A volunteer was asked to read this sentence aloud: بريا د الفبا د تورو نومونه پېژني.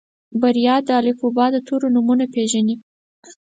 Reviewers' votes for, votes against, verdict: 4, 0, accepted